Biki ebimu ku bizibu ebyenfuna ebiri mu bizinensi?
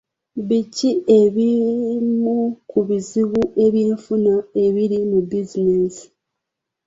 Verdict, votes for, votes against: rejected, 1, 2